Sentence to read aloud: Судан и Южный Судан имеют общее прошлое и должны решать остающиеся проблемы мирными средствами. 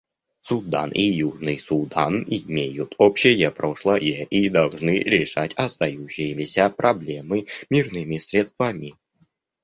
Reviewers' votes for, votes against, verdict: 1, 2, rejected